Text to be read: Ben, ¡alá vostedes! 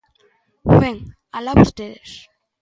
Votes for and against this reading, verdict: 2, 0, accepted